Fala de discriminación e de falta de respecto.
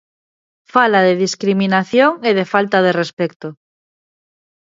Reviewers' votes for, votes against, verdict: 2, 0, accepted